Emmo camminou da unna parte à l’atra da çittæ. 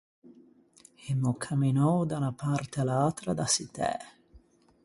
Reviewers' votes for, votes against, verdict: 4, 0, accepted